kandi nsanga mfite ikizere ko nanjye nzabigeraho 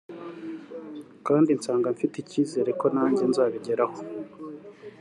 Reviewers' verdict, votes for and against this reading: accepted, 3, 0